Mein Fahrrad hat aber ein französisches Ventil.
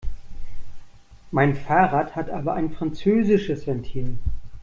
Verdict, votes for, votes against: accepted, 2, 0